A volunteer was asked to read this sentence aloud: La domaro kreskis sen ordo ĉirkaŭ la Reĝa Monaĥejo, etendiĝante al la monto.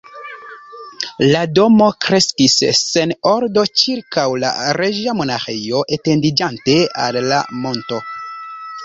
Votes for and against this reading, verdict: 1, 2, rejected